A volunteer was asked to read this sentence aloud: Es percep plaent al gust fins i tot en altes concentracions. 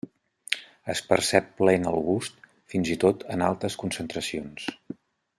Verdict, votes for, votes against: accepted, 2, 0